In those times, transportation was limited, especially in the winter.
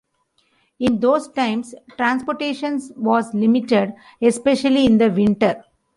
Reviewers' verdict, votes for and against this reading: accepted, 2, 0